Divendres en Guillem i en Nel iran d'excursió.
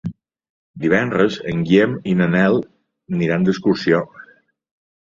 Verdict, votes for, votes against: accepted, 2, 1